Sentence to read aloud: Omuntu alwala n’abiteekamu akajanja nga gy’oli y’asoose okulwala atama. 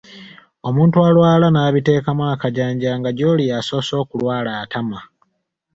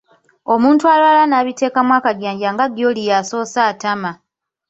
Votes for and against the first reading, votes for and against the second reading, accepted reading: 2, 0, 1, 2, first